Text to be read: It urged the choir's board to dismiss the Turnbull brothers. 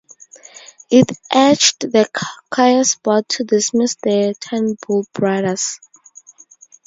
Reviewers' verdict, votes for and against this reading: rejected, 0, 2